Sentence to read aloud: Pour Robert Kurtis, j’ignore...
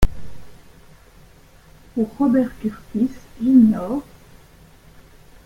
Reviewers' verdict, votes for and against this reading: rejected, 1, 2